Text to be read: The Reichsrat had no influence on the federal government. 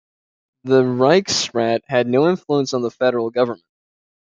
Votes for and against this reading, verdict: 2, 0, accepted